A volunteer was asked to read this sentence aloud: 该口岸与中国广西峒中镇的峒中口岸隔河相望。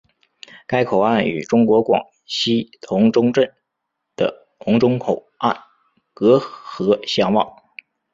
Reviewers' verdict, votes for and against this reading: rejected, 0, 2